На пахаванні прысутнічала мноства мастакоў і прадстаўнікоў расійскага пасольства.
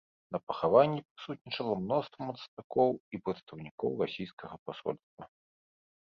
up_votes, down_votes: 1, 2